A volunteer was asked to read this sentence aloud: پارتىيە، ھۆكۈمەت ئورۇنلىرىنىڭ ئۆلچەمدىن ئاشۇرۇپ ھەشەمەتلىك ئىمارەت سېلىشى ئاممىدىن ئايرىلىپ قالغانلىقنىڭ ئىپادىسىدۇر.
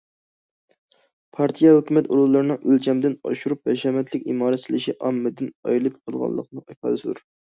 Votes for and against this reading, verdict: 2, 0, accepted